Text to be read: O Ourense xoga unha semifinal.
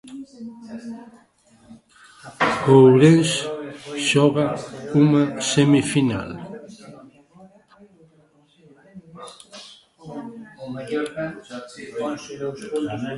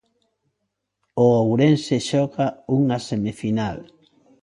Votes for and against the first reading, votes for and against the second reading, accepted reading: 0, 2, 2, 0, second